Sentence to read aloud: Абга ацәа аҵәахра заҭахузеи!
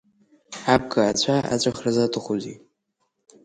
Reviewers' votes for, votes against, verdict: 4, 1, accepted